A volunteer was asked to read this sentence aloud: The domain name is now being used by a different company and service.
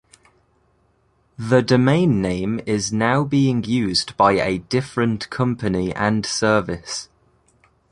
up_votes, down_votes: 2, 0